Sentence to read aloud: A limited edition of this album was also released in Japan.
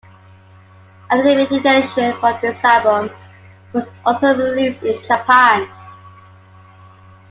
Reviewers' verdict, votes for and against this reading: accepted, 2, 0